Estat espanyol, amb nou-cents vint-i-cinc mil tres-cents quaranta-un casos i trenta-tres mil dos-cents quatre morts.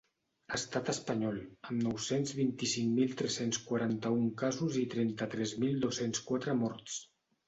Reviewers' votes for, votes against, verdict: 2, 0, accepted